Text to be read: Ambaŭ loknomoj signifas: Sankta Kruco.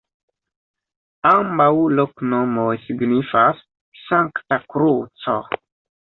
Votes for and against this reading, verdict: 2, 1, accepted